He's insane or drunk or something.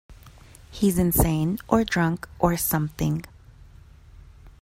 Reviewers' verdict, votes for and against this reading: accepted, 2, 0